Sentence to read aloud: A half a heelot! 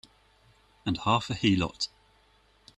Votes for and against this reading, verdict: 0, 3, rejected